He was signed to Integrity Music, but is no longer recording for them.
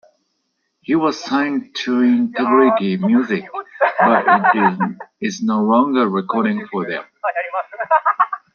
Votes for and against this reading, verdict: 0, 2, rejected